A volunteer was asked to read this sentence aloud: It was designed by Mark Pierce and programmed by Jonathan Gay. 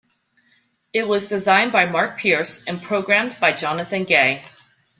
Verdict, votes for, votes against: accepted, 2, 0